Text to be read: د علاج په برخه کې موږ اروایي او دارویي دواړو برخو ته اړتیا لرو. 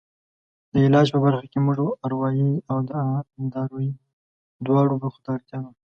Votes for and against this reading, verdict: 2, 0, accepted